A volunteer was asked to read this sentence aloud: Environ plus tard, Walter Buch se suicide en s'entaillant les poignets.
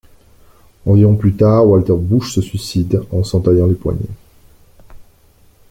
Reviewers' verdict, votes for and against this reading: accepted, 2, 0